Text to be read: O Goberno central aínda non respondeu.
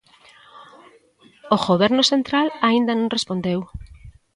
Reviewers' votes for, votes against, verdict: 2, 0, accepted